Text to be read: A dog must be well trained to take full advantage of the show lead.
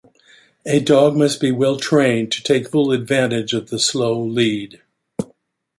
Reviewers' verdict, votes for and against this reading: rejected, 1, 2